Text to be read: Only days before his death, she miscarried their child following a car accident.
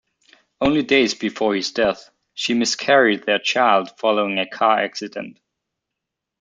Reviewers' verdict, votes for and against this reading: accepted, 2, 0